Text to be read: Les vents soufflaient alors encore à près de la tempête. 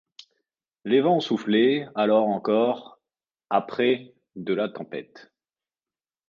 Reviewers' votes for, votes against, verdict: 2, 1, accepted